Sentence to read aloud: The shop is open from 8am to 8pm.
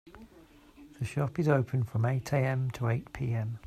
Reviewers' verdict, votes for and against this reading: rejected, 0, 2